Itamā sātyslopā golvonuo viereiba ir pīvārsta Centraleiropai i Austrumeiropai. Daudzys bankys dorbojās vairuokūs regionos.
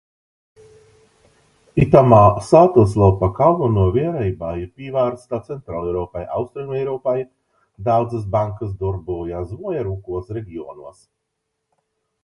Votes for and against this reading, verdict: 0, 2, rejected